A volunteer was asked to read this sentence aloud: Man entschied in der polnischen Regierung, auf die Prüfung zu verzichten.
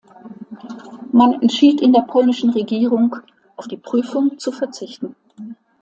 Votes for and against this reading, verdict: 2, 0, accepted